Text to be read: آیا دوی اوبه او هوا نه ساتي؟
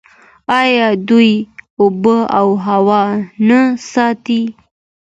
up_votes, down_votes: 2, 0